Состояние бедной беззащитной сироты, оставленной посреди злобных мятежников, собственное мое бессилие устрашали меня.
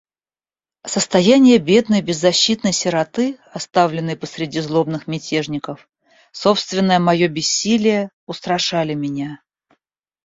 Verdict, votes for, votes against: accepted, 2, 0